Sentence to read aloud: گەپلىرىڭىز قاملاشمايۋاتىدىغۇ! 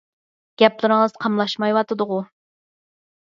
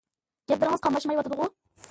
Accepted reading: first